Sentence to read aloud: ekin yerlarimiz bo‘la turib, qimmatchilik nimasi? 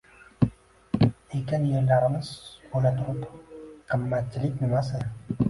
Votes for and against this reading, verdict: 0, 2, rejected